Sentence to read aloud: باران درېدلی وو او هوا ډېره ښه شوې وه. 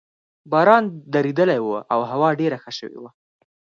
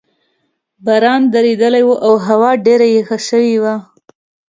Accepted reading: first